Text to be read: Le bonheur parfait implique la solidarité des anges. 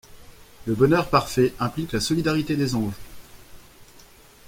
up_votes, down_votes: 2, 0